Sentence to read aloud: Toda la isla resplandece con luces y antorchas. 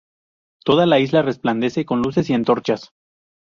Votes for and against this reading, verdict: 2, 0, accepted